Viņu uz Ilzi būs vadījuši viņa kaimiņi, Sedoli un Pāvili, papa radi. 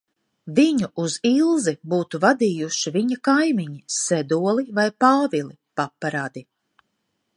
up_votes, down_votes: 1, 2